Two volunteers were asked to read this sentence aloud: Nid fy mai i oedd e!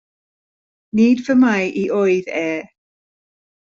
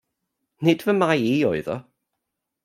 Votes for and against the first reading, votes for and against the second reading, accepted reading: 2, 0, 0, 2, first